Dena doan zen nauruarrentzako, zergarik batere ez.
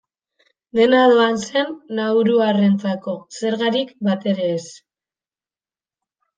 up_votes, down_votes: 2, 0